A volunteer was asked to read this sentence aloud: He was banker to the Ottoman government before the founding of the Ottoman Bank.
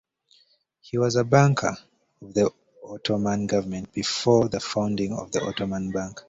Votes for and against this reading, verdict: 0, 2, rejected